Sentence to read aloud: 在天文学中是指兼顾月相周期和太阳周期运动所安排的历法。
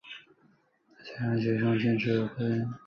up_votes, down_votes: 0, 2